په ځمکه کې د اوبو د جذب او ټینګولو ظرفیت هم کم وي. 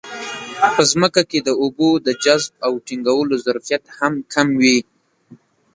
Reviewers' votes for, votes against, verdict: 1, 2, rejected